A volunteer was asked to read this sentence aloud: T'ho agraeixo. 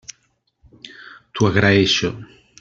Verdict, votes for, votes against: accepted, 2, 0